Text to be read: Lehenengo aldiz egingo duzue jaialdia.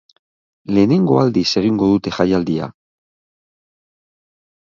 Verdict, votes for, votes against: rejected, 0, 3